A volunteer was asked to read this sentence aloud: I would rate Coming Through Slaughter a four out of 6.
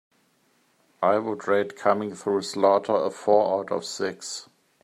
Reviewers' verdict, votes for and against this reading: rejected, 0, 2